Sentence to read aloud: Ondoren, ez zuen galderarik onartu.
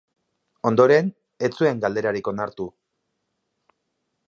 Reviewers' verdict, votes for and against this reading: accepted, 2, 0